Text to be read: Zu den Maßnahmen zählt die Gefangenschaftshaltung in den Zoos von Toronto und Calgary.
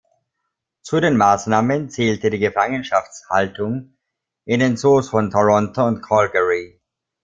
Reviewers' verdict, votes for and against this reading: rejected, 0, 2